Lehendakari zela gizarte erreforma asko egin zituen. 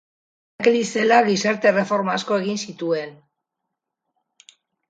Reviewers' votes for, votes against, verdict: 0, 4, rejected